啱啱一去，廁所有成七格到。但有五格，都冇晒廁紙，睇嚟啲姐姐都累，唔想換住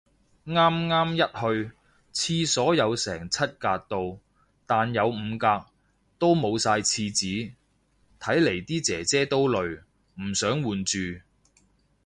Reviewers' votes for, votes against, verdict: 2, 0, accepted